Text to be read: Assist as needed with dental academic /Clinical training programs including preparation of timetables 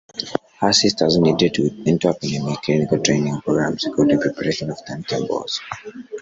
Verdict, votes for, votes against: rejected, 1, 3